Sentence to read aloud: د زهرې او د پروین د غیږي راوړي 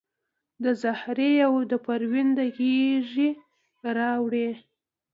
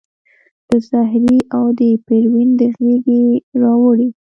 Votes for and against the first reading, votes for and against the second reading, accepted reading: 2, 0, 1, 2, first